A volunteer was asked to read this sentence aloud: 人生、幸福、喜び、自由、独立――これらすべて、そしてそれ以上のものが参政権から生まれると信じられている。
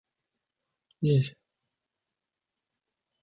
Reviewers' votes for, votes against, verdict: 0, 2, rejected